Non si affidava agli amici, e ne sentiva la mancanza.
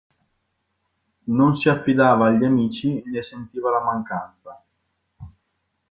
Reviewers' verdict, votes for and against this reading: accepted, 2, 1